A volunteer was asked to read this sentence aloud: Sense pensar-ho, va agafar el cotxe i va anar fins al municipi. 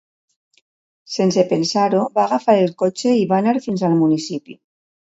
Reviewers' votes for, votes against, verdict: 2, 0, accepted